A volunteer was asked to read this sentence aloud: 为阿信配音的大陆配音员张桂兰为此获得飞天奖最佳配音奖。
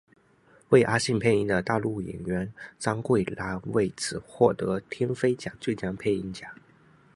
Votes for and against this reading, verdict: 4, 1, accepted